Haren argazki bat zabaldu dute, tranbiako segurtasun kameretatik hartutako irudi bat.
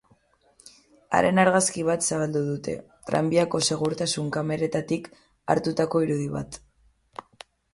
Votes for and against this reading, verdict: 6, 0, accepted